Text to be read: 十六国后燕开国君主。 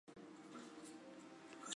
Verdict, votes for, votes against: rejected, 0, 2